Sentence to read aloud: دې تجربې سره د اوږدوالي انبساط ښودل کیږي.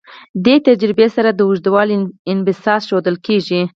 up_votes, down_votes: 2, 4